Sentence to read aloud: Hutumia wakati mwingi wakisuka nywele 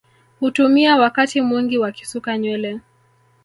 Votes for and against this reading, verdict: 1, 2, rejected